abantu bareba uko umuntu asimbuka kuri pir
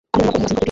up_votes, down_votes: 0, 2